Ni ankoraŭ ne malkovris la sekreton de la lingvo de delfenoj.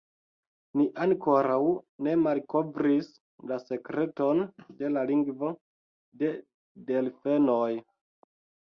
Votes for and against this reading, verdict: 2, 0, accepted